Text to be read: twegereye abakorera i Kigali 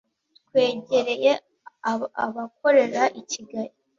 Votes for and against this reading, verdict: 1, 2, rejected